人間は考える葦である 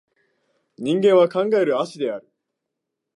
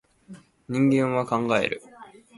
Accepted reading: first